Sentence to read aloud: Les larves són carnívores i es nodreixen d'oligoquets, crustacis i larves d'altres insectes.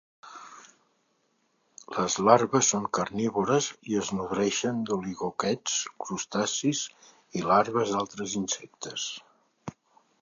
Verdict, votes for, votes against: accepted, 3, 0